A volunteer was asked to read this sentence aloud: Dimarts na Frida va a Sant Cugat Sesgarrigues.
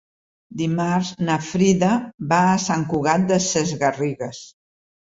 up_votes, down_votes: 0, 2